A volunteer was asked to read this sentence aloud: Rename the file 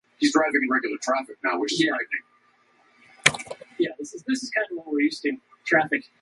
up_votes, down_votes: 0, 2